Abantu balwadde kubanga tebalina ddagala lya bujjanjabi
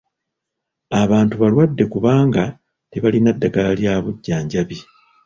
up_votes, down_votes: 1, 2